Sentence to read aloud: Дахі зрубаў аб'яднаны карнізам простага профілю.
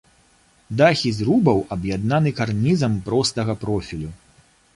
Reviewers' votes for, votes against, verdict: 2, 0, accepted